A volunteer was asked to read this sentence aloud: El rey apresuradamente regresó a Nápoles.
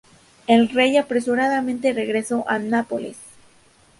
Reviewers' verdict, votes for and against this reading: accepted, 2, 0